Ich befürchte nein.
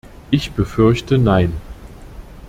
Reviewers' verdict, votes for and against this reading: accepted, 2, 0